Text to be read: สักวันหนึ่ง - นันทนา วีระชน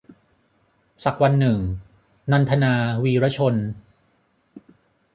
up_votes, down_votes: 6, 0